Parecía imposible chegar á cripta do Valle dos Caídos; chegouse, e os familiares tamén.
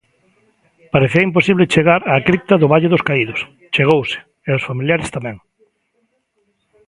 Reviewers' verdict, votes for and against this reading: accepted, 3, 0